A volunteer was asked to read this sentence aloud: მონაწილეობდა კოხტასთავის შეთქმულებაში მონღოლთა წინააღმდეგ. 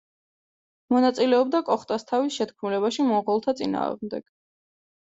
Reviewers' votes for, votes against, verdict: 2, 0, accepted